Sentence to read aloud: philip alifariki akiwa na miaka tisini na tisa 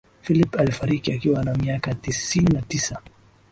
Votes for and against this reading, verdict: 16, 1, accepted